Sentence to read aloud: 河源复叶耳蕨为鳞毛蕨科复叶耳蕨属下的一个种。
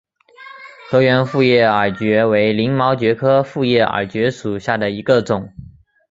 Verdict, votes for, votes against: accepted, 2, 0